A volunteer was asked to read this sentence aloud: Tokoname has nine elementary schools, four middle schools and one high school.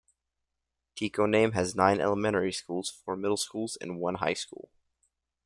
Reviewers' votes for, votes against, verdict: 0, 2, rejected